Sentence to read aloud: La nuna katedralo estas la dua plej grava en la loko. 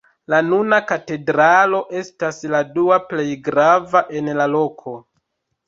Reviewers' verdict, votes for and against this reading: accepted, 2, 0